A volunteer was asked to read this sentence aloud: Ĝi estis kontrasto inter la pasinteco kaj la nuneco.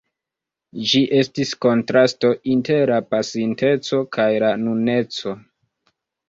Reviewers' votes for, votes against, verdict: 0, 2, rejected